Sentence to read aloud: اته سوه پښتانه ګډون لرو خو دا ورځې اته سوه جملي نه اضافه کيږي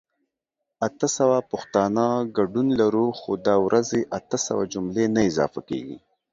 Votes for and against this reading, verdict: 2, 0, accepted